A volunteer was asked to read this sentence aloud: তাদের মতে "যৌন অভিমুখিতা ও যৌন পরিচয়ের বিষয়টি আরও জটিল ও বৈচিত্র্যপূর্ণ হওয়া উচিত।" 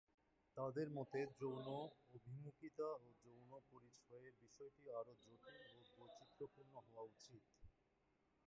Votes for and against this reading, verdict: 0, 2, rejected